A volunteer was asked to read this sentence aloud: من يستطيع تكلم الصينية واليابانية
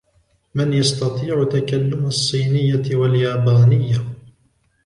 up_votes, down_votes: 1, 2